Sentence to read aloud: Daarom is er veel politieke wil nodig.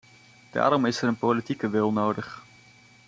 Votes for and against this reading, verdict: 1, 2, rejected